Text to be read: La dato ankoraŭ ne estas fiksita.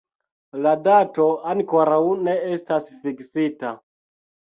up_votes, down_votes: 1, 2